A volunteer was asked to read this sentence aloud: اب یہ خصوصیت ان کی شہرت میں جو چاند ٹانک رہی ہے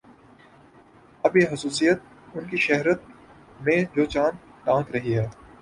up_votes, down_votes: 2, 0